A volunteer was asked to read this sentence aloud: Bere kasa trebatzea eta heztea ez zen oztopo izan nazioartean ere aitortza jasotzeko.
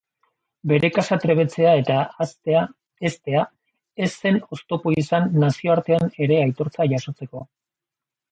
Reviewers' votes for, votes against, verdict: 0, 2, rejected